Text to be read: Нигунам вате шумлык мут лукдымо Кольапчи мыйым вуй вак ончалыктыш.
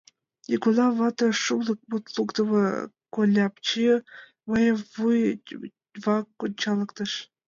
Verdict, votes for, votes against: accepted, 2, 0